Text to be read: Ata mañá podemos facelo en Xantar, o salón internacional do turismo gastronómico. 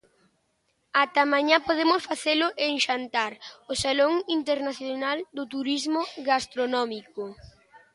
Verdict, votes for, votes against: accepted, 2, 0